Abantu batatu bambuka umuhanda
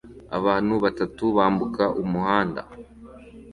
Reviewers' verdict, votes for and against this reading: accepted, 2, 0